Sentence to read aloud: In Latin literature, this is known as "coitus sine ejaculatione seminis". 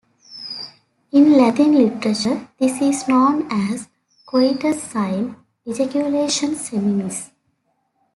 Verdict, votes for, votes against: rejected, 1, 2